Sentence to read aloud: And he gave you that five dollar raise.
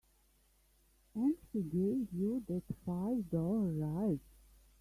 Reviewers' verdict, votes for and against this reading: rejected, 0, 2